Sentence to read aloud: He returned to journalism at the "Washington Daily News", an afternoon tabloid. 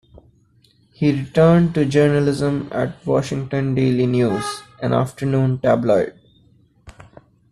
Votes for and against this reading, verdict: 1, 2, rejected